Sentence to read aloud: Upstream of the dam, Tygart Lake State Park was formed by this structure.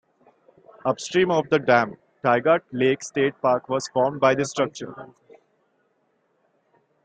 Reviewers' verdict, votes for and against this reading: accepted, 2, 0